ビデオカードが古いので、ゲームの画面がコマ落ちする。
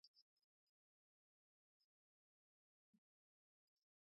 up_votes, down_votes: 1, 3